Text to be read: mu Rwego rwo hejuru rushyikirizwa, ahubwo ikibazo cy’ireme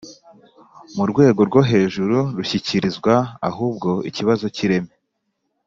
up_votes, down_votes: 5, 0